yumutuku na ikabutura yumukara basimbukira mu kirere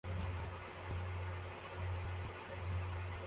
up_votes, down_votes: 0, 2